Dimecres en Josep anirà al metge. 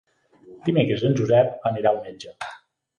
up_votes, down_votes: 3, 0